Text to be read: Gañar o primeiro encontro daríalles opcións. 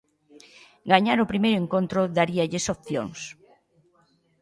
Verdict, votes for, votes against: accepted, 2, 0